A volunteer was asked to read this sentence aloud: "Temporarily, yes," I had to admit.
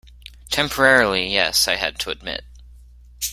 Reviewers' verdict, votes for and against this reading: accepted, 2, 0